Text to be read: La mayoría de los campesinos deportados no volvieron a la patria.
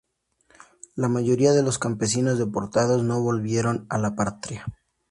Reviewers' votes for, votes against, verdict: 0, 2, rejected